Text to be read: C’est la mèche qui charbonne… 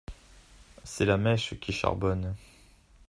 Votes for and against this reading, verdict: 2, 0, accepted